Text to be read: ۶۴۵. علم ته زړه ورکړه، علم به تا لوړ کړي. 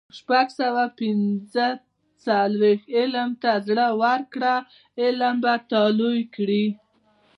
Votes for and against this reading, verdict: 0, 2, rejected